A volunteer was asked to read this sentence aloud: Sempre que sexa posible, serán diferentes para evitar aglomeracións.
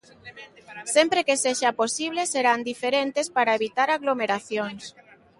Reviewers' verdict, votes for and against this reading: accepted, 2, 0